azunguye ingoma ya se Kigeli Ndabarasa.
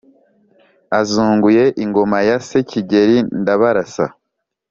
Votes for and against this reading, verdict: 3, 0, accepted